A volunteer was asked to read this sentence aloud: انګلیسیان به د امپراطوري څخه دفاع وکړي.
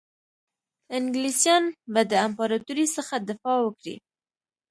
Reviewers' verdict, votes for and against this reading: accepted, 3, 0